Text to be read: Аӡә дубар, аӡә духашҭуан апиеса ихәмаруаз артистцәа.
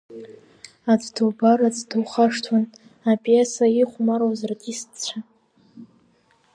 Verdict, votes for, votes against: accepted, 2, 1